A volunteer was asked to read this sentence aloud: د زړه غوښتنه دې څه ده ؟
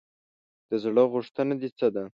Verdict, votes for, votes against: accepted, 2, 0